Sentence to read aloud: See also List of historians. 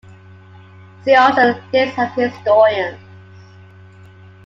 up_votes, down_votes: 2, 1